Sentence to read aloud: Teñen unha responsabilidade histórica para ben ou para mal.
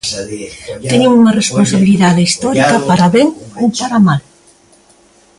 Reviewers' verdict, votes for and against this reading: rejected, 0, 2